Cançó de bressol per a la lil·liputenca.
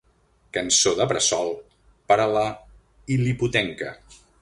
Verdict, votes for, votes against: rejected, 1, 2